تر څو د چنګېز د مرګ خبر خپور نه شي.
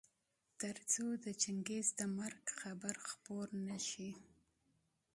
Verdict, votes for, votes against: rejected, 0, 2